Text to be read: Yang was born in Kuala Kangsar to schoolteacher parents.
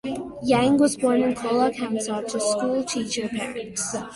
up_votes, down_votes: 2, 0